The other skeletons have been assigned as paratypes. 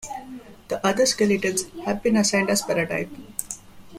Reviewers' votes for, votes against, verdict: 2, 1, accepted